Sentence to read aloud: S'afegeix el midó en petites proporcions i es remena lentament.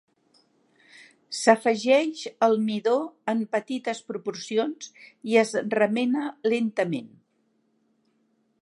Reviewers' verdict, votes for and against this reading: accepted, 2, 0